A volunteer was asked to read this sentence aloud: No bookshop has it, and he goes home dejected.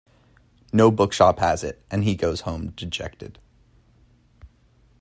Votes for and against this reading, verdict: 2, 0, accepted